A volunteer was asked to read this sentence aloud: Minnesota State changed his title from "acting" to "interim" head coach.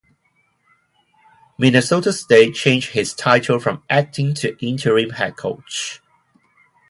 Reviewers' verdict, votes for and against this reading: accepted, 4, 0